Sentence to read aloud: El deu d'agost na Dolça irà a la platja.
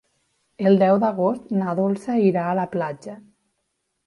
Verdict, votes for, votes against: accepted, 3, 0